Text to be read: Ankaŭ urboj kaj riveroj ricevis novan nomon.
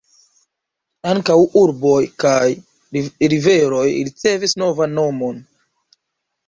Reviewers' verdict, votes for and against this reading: rejected, 1, 2